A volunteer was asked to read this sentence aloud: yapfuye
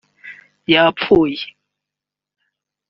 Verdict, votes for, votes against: accepted, 3, 0